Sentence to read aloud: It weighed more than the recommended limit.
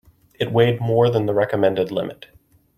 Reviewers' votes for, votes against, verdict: 2, 0, accepted